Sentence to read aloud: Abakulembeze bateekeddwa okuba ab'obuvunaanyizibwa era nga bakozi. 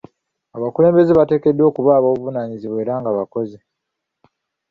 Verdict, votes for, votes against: accepted, 2, 0